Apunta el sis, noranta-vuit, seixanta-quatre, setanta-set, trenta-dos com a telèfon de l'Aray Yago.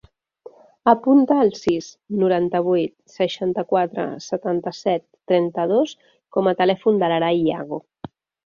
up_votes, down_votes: 2, 0